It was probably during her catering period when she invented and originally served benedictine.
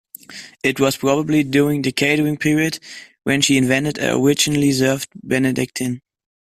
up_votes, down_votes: 0, 2